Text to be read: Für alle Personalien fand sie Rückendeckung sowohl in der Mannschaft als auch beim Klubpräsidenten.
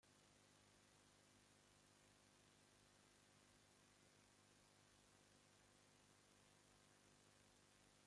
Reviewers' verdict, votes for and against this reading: rejected, 0, 2